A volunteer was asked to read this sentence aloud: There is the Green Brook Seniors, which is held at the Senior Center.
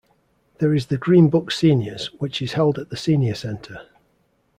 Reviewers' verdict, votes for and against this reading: accepted, 2, 0